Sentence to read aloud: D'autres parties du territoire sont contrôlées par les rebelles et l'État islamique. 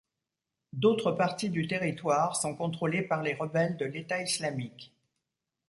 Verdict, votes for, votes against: rejected, 1, 2